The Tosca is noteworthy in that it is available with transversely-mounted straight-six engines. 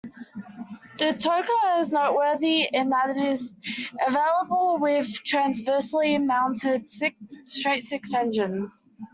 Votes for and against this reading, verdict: 0, 2, rejected